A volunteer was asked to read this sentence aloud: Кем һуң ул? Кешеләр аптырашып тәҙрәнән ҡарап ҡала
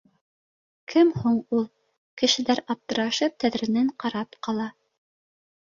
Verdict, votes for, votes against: accepted, 2, 0